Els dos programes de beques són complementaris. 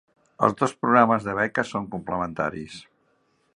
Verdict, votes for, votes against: accepted, 3, 0